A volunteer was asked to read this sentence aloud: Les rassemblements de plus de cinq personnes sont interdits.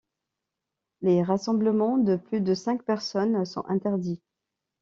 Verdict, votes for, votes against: accepted, 2, 0